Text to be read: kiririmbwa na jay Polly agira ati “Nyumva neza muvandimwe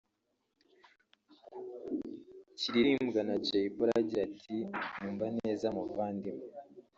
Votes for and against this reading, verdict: 1, 2, rejected